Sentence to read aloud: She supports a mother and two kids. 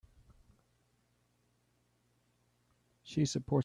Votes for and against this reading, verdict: 0, 2, rejected